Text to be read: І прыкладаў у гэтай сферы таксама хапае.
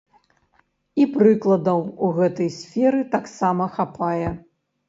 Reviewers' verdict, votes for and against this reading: accepted, 2, 0